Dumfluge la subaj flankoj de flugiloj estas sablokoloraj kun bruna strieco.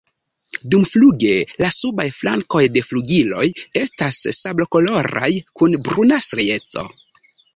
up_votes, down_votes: 2, 0